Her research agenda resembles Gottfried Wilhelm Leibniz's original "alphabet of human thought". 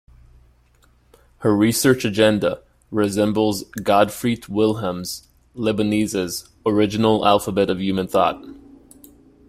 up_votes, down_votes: 3, 2